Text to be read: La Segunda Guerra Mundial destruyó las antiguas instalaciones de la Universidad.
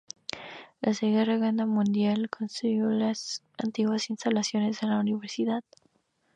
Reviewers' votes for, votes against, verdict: 0, 2, rejected